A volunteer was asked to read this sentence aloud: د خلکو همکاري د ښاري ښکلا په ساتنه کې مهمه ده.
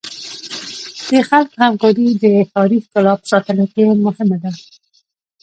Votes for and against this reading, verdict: 1, 2, rejected